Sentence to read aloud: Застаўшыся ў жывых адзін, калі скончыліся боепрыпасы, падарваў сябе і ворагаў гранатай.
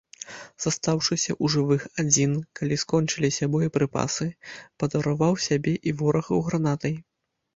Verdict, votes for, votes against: rejected, 1, 2